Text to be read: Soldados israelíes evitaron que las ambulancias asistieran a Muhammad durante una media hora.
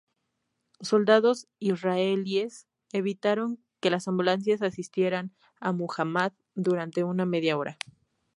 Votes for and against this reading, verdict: 0, 2, rejected